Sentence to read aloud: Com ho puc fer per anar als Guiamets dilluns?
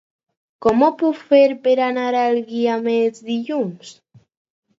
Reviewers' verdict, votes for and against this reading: accepted, 4, 0